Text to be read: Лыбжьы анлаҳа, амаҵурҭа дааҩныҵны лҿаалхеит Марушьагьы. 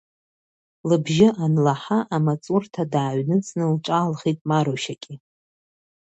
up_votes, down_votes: 1, 2